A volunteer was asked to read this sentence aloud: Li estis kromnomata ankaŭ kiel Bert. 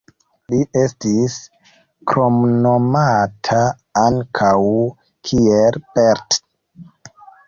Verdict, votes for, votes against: rejected, 0, 2